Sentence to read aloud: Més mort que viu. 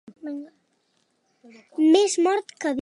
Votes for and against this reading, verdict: 0, 2, rejected